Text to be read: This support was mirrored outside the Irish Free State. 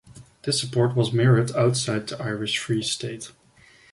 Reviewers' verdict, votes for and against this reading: accepted, 2, 1